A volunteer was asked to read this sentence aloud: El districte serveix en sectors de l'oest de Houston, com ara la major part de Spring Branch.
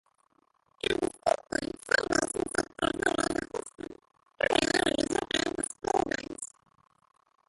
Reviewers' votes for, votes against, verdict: 0, 2, rejected